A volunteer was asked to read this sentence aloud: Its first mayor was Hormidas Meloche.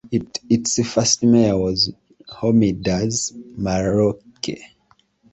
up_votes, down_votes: 0, 2